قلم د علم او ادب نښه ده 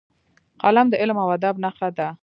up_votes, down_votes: 2, 0